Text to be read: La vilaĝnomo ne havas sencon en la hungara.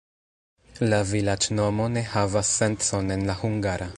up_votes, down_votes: 1, 2